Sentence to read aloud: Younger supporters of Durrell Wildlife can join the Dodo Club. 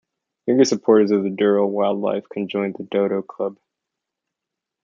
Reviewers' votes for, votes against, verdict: 0, 2, rejected